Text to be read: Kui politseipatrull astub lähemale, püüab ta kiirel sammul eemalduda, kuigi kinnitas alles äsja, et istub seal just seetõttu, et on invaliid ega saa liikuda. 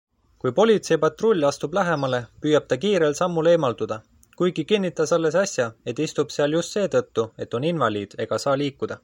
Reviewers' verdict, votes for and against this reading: accepted, 2, 0